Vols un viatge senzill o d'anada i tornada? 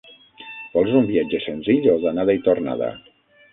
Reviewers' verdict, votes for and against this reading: rejected, 0, 6